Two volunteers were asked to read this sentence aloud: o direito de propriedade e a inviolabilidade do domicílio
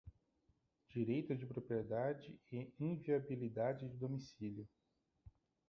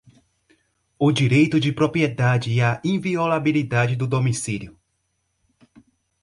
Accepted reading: second